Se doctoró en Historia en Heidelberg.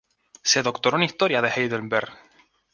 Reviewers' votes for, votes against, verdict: 2, 2, rejected